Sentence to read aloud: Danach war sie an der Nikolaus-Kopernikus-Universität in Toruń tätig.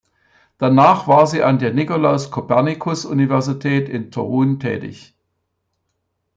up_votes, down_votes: 2, 0